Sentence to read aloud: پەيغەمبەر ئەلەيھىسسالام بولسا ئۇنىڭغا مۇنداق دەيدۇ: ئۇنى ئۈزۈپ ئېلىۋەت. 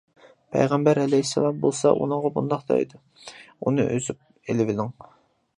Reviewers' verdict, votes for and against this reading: rejected, 0, 2